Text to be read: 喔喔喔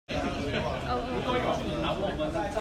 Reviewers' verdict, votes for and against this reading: rejected, 1, 2